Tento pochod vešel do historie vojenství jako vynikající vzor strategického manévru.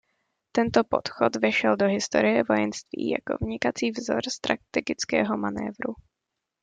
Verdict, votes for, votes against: rejected, 0, 2